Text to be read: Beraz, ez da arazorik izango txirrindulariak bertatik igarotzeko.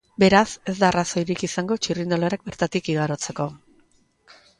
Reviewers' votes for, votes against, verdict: 1, 2, rejected